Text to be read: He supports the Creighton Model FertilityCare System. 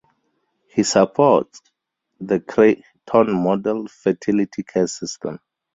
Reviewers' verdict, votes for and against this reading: rejected, 0, 2